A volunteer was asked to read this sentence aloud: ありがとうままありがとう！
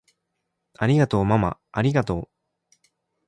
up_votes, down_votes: 1, 2